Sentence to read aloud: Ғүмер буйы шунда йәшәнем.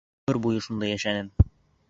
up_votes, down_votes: 2, 0